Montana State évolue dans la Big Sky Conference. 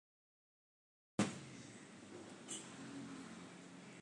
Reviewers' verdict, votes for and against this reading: rejected, 0, 3